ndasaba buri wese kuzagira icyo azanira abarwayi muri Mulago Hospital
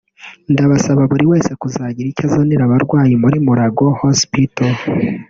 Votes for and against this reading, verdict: 1, 2, rejected